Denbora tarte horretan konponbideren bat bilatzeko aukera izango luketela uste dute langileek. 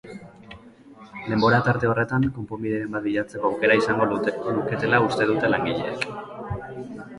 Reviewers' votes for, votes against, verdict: 1, 3, rejected